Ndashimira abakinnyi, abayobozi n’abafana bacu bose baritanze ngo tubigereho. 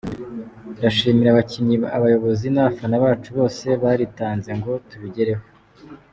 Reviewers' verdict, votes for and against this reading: accepted, 2, 0